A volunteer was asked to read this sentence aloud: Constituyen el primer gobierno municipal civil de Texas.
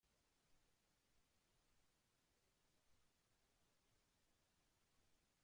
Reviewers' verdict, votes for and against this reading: rejected, 0, 2